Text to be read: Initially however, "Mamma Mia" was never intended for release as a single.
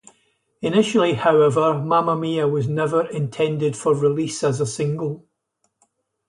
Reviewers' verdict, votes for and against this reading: accepted, 4, 0